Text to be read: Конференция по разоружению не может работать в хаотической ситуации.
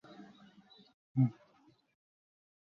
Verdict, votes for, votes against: rejected, 0, 2